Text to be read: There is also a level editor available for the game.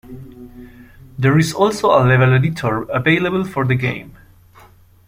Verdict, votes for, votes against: accepted, 2, 0